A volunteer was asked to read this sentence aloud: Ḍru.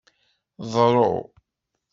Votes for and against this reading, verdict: 2, 0, accepted